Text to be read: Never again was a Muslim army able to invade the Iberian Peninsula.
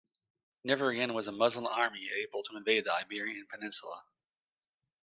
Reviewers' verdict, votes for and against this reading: accepted, 2, 1